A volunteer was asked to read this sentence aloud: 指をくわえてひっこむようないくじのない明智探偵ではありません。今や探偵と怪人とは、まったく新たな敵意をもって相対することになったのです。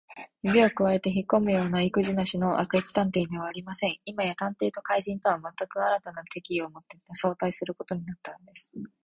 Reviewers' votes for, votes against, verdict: 2, 2, rejected